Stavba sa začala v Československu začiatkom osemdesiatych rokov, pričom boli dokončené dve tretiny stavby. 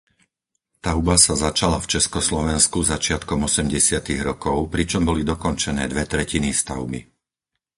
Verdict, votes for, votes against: rejected, 0, 4